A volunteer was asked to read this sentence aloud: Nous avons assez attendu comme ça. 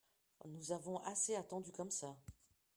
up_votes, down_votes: 2, 1